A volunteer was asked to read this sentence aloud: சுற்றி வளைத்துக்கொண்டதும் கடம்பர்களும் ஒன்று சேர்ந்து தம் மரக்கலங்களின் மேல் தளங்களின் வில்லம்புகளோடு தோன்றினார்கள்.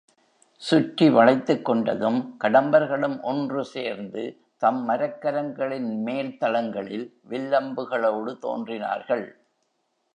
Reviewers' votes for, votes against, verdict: 2, 1, accepted